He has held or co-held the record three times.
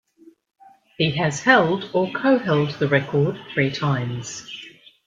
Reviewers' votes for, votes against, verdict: 2, 0, accepted